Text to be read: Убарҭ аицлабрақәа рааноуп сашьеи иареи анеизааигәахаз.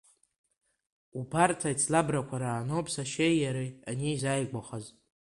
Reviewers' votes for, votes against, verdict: 3, 1, accepted